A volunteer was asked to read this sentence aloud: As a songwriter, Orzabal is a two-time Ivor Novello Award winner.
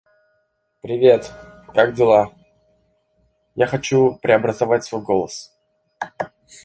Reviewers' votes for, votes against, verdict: 0, 2, rejected